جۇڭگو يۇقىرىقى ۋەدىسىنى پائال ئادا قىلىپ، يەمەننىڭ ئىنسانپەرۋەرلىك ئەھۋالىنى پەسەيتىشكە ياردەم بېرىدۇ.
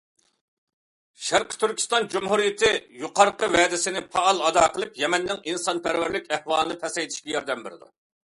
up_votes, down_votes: 0, 2